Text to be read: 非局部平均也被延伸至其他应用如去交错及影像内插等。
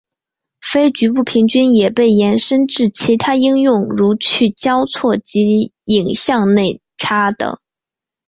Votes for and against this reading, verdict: 1, 2, rejected